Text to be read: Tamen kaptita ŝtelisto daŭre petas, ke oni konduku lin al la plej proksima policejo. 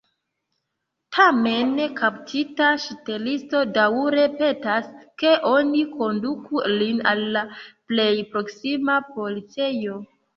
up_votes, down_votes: 1, 2